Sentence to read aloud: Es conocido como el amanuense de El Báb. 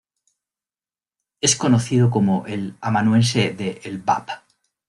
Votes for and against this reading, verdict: 2, 0, accepted